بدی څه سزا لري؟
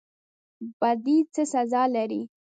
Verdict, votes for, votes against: rejected, 1, 2